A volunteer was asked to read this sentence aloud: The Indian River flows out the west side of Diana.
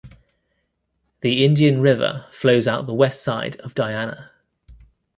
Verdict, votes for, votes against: accepted, 2, 0